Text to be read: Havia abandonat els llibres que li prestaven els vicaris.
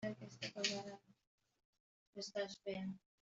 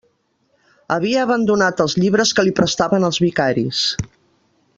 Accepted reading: second